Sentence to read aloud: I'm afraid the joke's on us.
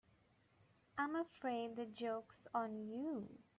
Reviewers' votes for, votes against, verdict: 1, 3, rejected